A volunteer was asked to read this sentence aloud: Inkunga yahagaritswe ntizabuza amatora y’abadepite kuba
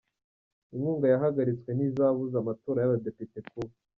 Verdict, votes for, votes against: accepted, 2, 0